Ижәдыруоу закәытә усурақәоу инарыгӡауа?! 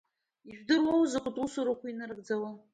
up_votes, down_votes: 2, 0